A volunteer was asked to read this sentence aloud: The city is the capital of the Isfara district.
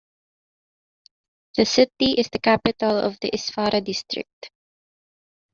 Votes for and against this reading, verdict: 1, 2, rejected